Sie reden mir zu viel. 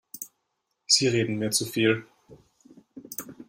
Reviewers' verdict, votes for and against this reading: accepted, 2, 0